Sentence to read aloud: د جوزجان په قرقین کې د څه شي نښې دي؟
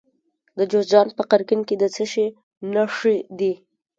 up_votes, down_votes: 0, 2